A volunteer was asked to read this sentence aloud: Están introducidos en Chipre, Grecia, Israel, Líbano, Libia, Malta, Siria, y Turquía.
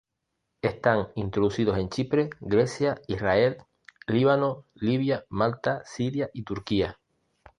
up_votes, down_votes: 2, 0